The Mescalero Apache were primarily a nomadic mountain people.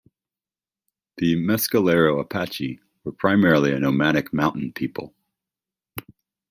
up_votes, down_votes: 2, 1